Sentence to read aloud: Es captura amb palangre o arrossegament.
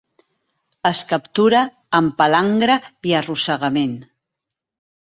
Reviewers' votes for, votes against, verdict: 0, 2, rejected